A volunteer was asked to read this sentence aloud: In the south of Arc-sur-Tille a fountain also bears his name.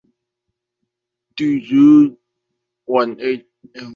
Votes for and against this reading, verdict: 0, 2, rejected